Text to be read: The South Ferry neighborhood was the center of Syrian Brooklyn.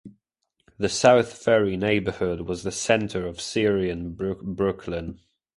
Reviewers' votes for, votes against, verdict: 0, 2, rejected